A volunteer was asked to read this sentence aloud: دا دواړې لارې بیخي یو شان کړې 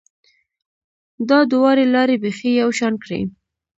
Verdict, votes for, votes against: accepted, 2, 0